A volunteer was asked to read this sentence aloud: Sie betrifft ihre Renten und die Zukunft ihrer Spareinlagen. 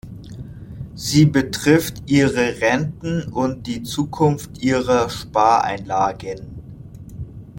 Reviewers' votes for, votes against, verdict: 2, 1, accepted